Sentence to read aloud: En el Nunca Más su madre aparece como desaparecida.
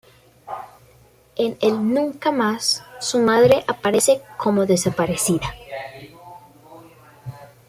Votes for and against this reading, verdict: 1, 2, rejected